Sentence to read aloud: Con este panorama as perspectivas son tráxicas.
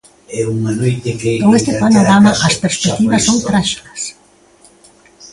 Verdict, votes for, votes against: rejected, 0, 2